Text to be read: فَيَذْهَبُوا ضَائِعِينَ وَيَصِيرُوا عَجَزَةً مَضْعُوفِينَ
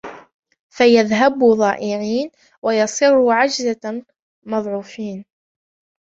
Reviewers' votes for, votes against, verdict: 0, 2, rejected